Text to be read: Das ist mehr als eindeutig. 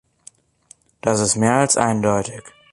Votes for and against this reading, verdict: 3, 0, accepted